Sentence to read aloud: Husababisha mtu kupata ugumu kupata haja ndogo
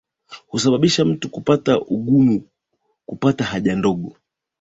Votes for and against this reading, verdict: 2, 0, accepted